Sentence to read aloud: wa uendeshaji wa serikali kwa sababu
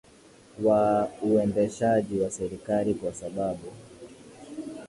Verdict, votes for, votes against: accepted, 11, 1